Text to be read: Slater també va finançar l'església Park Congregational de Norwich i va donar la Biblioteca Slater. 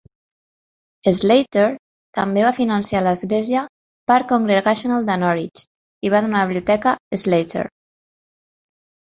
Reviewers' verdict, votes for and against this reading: rejected, 0, 2